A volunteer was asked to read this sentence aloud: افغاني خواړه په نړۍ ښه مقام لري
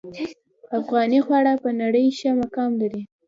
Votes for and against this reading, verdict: 2, 0, accepted